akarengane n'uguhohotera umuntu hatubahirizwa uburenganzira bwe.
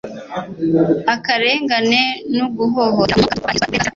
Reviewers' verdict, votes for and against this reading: rejected, 0, 2